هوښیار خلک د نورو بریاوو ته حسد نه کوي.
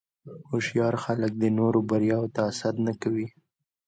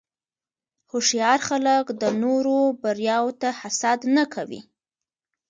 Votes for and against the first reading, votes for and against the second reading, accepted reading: 2, 1, 1, 2, first